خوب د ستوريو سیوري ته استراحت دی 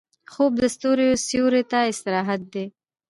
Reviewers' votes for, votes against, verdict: 0, 2, rejected